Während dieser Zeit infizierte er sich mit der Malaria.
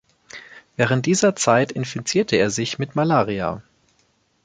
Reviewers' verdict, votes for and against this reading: rejected, 1, 3